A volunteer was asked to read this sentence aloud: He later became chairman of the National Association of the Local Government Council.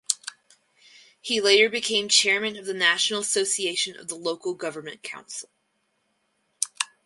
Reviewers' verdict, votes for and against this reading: accepted, 6, 0